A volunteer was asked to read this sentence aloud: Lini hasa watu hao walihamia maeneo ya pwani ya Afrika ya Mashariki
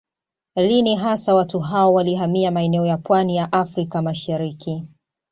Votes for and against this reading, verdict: 2, 0, accepted